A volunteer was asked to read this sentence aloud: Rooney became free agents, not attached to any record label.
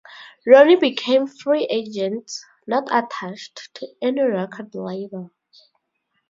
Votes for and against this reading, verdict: 4, 2, accepted